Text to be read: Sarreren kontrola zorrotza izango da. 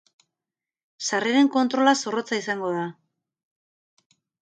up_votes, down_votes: 2, 0